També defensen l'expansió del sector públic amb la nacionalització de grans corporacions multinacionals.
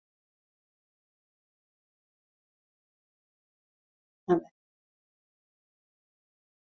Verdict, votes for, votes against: rejected, 0, 2